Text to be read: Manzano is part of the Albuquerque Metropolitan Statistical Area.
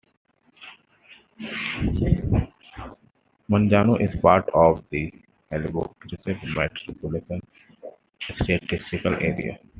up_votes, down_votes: 0, 2